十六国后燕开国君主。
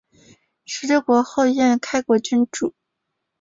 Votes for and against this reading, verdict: 3, 1, accepted